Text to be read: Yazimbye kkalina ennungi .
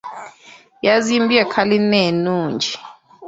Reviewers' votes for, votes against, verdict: 1, 2, rejected